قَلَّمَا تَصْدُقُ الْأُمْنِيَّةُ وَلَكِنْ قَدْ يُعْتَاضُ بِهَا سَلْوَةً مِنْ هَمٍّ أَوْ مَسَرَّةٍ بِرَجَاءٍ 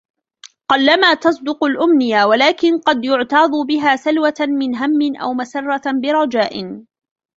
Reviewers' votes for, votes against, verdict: 1, 2, rejected